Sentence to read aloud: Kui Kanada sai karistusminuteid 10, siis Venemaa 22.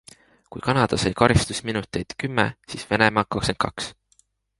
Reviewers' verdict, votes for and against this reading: rejected, 0, 2